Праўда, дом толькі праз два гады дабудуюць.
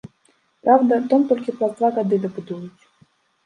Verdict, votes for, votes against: rejected, 1, 2